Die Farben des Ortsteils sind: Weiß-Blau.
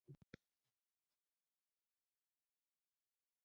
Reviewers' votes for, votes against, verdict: 0, 6, rejected